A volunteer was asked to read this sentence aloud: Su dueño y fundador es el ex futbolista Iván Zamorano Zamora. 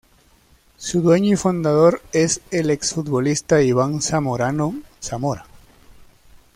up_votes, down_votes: 2, 0